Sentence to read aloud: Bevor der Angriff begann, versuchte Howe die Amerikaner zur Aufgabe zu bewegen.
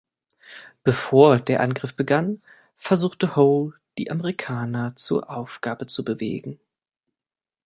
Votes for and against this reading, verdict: 1, 2, rejected